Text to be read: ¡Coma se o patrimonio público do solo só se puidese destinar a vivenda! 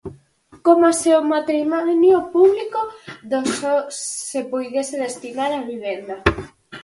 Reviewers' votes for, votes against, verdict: 0, 4, rejected